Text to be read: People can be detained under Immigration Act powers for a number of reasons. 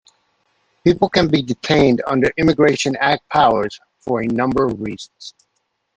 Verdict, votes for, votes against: accepted, 2, 0